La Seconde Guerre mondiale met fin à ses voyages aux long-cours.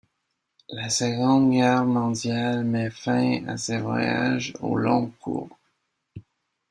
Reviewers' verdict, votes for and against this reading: accepted, 2, 0